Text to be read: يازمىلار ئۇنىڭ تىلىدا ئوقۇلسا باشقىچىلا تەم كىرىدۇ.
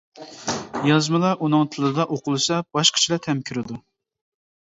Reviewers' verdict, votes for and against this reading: accepted, 2, 0